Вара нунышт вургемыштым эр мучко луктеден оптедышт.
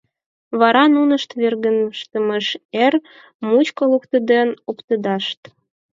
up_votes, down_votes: 2, 6